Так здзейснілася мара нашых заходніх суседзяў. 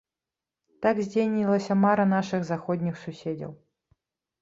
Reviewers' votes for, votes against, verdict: 2, 3, rejected